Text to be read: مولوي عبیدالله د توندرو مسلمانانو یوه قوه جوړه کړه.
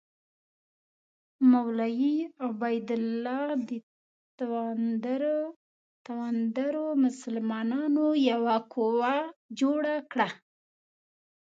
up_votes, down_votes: 1, 2